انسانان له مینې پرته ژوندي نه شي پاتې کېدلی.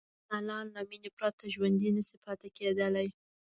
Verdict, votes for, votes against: accepted, 2, 1